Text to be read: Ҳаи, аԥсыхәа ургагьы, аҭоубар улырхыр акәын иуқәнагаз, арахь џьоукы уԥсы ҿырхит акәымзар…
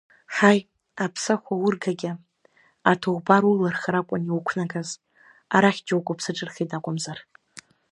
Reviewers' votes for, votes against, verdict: 1, 2, rejected